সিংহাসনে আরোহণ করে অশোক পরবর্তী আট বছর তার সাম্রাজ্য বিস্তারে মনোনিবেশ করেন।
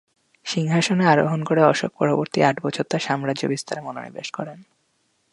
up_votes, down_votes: 2, 0